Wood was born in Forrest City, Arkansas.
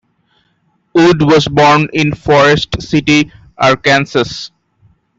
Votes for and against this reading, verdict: 2, 0, accepted